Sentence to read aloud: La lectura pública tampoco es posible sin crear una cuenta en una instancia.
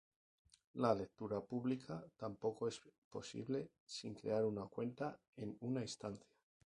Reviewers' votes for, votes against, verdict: 4, 0, accepted